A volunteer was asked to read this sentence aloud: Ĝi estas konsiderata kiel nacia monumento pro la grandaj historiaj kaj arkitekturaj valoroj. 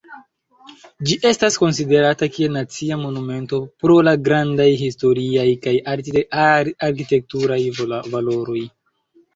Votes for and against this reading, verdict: 1, 2, rejected